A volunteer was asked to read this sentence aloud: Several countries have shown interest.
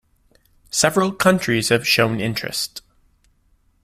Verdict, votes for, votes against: accepted, 2, 0